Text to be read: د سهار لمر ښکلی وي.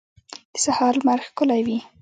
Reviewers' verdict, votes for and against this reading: rejected, 1, 2